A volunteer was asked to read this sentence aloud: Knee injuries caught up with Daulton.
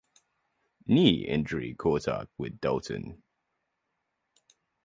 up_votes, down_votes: 0, 2